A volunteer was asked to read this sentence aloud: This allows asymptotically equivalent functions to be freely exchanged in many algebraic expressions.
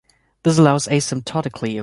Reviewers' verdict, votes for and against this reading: rejected, 1, 2